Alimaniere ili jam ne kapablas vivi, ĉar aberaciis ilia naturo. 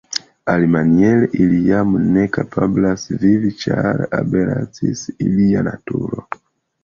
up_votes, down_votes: 0, 2